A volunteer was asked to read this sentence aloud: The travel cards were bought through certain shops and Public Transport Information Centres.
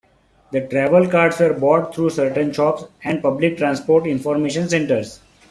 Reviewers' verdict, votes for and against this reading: accepted, 2, 0